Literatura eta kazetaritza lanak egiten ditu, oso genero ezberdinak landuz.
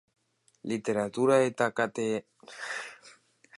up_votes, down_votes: 0, 2